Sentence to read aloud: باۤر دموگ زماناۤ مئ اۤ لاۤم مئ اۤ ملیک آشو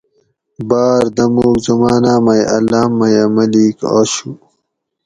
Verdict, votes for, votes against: accepted, 4, 0